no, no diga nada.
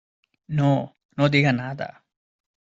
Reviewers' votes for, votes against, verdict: 2, 0, accepted